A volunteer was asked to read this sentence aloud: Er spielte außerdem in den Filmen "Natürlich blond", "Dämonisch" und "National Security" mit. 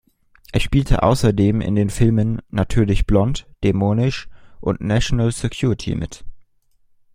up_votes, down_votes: 2, 0